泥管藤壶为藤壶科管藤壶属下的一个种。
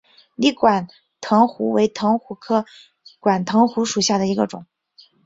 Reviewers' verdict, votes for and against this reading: accepted, 4, 0